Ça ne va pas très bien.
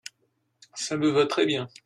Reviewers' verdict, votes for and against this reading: rejected, 0, 2